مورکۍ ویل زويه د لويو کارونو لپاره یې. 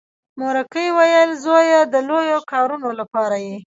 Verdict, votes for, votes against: rejected, 1, 2